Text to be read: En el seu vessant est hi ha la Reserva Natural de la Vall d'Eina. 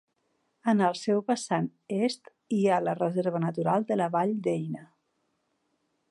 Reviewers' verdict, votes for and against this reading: accepted, 2, 0